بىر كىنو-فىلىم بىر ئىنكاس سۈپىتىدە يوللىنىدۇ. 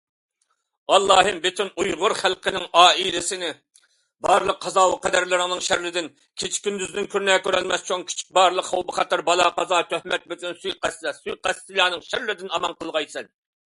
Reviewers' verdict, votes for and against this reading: rejected, 0, 2